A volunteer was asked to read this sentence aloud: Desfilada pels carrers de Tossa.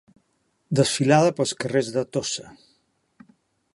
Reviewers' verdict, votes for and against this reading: accepted, 3, 0